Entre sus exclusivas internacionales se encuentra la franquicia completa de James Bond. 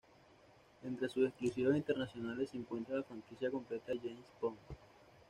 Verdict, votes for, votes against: accepted, 2, 0